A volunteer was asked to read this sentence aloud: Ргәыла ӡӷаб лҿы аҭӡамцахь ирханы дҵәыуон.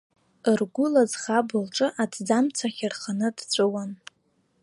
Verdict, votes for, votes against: accepted, 2, 0